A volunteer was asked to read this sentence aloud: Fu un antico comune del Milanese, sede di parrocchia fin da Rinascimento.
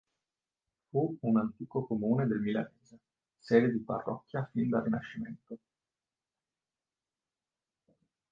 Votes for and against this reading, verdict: 5, 6, rejected